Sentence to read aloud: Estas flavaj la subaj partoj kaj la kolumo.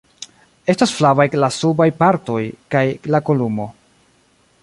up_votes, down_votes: 0, 2